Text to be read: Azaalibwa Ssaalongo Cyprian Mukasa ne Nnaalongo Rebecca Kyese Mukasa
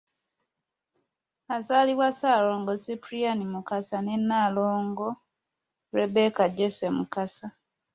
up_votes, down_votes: 2, 3